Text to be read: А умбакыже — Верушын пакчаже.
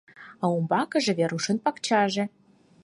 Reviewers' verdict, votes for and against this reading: accepted, 4, 0